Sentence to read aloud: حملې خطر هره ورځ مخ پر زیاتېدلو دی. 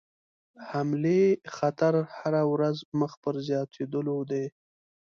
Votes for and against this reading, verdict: 3, 0, accepted